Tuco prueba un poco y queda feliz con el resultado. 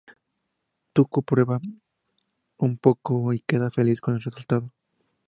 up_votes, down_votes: 2, 0